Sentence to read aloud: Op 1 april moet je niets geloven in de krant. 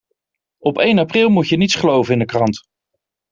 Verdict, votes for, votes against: rejected, 0, 2